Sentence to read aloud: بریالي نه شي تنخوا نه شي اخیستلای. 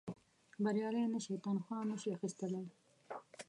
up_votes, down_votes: 1, 2